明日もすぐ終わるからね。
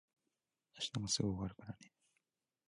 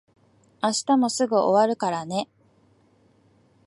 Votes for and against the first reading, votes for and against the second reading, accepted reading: 0, 2, 2, 0, second